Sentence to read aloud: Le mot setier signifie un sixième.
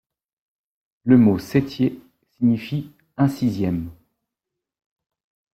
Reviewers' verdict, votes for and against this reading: rejected, 1, 2